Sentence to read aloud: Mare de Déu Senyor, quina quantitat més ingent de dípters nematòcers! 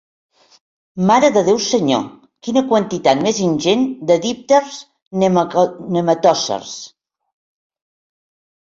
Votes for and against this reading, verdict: 0, 2, rejected